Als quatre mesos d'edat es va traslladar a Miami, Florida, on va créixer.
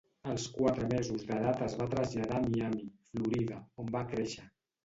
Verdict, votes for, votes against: accepted, 2, 0